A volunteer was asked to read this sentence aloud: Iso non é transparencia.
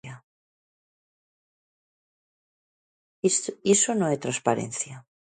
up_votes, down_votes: 0, 2